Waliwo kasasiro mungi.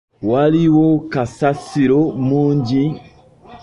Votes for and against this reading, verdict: 3, 0, accepted